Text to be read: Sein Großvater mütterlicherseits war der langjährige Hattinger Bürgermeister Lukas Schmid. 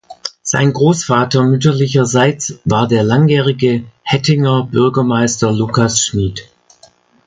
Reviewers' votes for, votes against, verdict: 0, 2, rejected